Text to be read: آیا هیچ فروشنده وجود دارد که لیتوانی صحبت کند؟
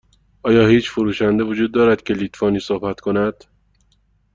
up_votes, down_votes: 2, 0